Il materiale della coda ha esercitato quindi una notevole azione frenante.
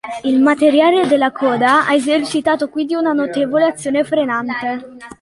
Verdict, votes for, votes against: accepted, 2, 0